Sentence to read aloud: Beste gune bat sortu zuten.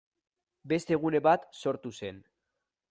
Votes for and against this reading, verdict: 0, 2, rejected